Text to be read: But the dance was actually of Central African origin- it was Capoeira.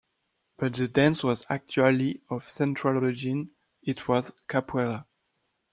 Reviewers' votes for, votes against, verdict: 0, 2, rejected